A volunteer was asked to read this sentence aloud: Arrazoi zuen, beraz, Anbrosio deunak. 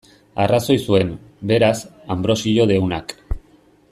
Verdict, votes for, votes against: accepted, 2, 0